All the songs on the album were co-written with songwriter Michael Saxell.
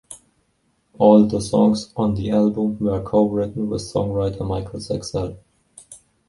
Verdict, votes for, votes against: accepted, 2, 0